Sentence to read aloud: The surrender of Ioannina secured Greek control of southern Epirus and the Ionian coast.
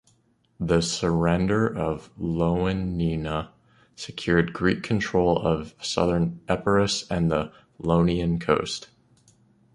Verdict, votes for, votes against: rejected, 1, 2